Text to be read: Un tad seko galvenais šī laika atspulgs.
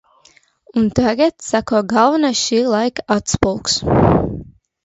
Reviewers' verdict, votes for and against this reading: rejected, 0, 2